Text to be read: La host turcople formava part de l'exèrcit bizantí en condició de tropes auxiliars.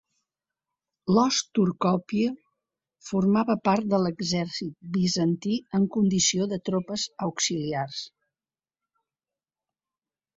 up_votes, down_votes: 1, 3